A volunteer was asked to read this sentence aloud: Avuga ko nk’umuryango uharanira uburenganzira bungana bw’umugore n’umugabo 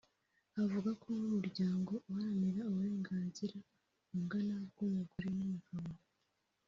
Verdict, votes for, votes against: accepted, 2, 1